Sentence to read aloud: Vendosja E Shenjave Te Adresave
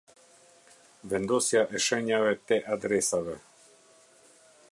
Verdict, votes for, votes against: rejected, 0, 2